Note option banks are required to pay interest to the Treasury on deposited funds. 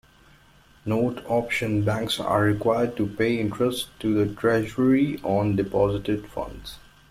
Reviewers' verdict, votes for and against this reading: accepted, 2, 0